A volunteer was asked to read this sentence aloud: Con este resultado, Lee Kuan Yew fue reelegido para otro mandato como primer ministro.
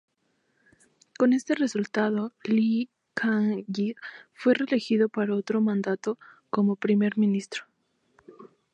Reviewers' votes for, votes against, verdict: 2, 0, accepted